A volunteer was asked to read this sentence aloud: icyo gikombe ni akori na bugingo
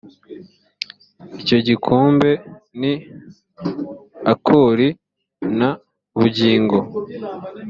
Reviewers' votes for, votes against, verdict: 2, 0, accepted